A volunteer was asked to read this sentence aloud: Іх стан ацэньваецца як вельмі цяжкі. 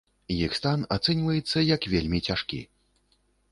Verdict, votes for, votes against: rejected, 1, 2